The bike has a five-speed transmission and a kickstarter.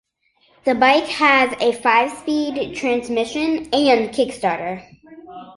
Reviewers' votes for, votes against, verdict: 0, 2, rejected